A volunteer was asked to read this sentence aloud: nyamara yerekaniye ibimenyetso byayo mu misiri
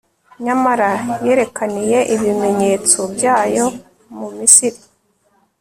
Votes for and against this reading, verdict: 3, 0, accepted